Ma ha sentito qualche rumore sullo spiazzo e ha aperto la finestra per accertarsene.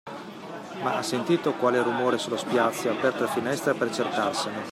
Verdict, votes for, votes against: rejected, 1, 2